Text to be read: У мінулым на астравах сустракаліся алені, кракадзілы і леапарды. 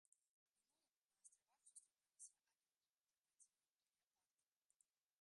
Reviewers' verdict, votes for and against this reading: rejected, 0, 2